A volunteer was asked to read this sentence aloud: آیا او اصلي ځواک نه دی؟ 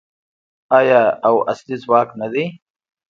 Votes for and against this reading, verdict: 2, 0, accepted